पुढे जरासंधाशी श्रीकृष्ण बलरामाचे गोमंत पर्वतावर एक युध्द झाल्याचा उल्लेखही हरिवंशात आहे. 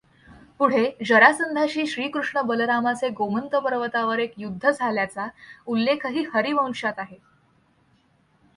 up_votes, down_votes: 2, 0